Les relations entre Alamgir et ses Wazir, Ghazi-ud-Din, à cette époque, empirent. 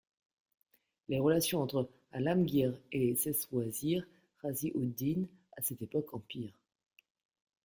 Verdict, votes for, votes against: accepted, 2, 0